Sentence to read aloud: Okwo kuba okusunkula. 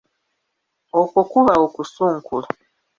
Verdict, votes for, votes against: rejected, 1, 2